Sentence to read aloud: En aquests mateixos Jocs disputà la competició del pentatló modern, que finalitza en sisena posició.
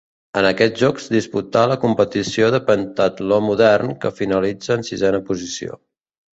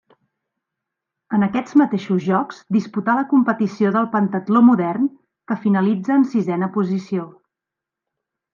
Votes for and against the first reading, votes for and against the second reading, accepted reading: 1, 2, 3, 0, second